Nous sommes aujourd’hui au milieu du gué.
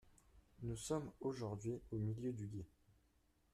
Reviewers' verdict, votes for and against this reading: accepted, 2, 0